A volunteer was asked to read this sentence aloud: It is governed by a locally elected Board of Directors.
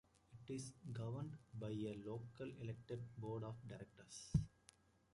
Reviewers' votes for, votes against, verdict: 1, 2, rejected